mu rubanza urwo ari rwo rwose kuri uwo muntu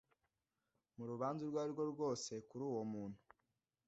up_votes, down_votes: 2, 0